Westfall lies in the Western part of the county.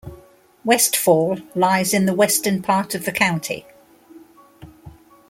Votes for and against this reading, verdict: 2, 0, accepted